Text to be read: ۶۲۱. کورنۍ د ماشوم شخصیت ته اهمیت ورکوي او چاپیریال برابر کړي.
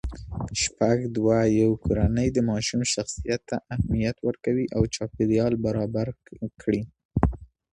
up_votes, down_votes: 0, 2